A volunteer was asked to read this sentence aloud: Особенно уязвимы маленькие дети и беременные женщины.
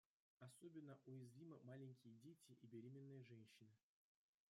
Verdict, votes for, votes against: rejected, 1, 2